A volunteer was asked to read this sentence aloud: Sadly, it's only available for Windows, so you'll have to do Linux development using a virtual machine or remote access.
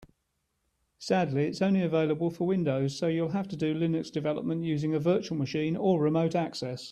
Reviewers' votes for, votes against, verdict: 2, 0, accepted